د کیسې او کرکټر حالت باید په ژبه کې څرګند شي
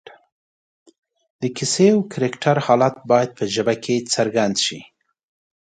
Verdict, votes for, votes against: accepted, 2, 0